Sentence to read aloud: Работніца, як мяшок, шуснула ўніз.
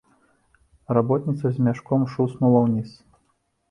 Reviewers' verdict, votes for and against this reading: rejected, 0, 3